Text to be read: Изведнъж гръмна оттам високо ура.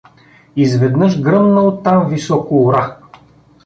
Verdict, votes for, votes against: accepted, 2, 0